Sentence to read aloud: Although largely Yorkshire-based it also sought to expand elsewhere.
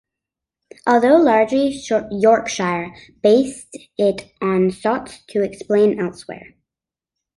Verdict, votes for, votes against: rejected, 1, 2